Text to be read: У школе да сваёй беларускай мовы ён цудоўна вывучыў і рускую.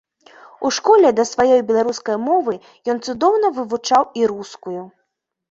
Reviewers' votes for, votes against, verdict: 0, 2, rejected